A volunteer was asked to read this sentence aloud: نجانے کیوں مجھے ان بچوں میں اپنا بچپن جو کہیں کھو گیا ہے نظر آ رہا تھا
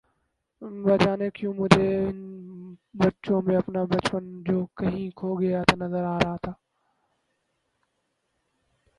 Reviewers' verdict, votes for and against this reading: rejected, 0, 2